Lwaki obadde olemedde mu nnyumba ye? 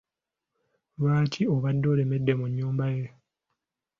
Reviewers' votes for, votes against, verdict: 2, 0, accepted